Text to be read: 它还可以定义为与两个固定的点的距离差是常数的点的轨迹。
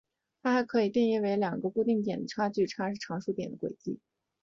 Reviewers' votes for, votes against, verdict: 3, 1, accepted